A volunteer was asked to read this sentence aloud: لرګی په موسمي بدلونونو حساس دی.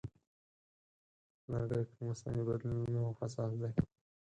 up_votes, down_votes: 0, 4